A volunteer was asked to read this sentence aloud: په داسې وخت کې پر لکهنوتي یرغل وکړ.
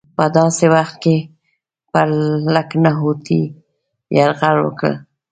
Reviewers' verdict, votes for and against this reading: accepted, 2, 1